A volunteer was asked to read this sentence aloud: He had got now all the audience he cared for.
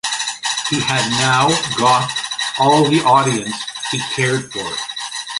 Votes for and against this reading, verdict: 1, 2, rejected